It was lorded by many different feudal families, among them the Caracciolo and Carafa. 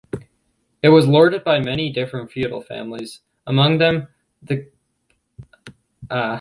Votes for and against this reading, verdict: 0, 2, rejected